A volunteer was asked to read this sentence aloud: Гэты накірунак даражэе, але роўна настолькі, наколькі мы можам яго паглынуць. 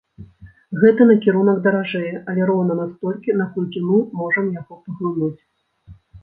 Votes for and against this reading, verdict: 1, 2, rejected